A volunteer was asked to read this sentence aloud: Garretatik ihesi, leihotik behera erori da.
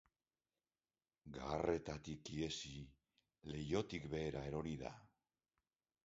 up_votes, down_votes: 1, 3